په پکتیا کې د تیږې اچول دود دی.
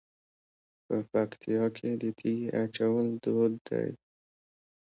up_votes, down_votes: 0, 2